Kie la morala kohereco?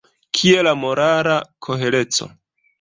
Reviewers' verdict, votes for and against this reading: accepted, 2, 1